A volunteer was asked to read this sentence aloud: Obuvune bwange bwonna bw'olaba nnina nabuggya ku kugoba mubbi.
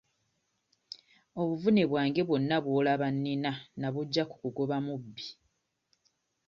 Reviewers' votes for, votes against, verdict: 1, 2, rejected